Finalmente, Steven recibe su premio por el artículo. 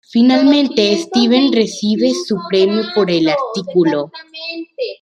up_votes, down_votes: 1, 2